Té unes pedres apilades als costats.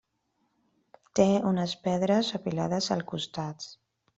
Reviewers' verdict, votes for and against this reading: rejected, 1, 2